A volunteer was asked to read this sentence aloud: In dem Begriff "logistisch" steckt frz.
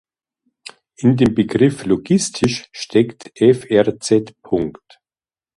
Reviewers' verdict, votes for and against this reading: rejected, 0, 2